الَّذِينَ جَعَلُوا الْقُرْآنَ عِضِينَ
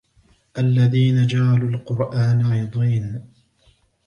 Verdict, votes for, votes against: accepted, 2, 0